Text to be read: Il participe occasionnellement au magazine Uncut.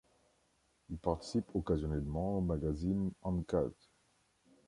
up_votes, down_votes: 2, 0